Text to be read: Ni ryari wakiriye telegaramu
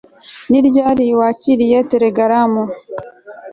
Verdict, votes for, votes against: accepted, 2, 0